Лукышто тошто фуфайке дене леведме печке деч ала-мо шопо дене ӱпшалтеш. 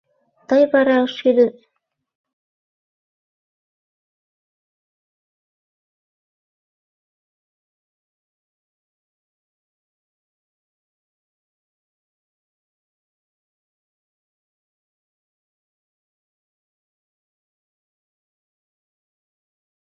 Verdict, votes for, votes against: rejected, 0, 2